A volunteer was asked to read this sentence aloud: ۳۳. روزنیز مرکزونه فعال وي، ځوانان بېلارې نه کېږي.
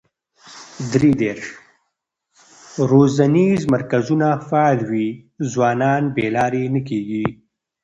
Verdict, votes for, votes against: rejected, 0, 2